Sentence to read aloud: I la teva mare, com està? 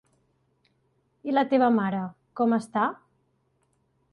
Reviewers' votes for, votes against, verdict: 3, 0, accepted